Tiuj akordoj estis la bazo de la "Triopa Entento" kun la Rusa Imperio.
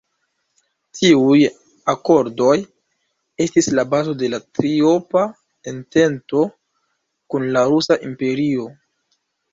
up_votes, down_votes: 1, 2